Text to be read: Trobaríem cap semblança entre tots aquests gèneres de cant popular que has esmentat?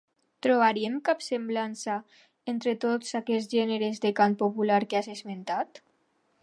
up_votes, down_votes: 2, 0